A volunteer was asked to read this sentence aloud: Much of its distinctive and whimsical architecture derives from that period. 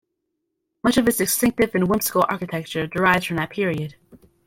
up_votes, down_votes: 2, 0